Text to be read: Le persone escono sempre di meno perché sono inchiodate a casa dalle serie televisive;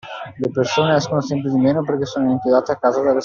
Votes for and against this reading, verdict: 0, 2, rejected